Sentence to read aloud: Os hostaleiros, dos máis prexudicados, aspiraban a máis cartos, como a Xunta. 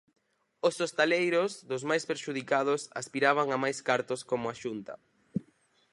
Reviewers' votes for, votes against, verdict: 0, 4, rejected